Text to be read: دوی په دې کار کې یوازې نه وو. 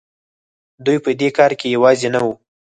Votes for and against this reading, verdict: 2, 4, rejected